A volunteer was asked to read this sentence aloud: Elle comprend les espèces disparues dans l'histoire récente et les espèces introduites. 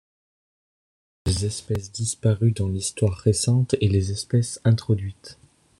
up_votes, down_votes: 0, 2